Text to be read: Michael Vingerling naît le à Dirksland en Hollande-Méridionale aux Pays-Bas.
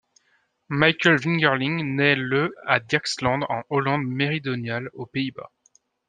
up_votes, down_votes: 1, 2